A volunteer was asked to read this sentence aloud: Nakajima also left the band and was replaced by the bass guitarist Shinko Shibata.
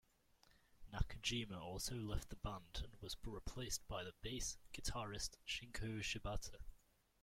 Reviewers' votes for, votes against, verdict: 1, 2, rejected